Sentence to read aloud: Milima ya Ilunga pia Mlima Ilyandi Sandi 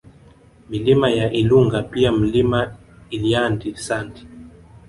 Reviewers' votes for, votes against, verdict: 1, 2, rejected